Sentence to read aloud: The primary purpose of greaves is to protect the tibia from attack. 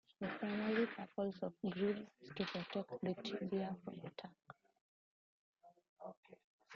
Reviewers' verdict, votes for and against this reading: rejected, 0, 2